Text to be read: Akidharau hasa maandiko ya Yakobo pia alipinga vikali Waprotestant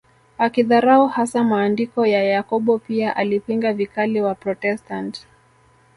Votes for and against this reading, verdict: 2, 1, accepted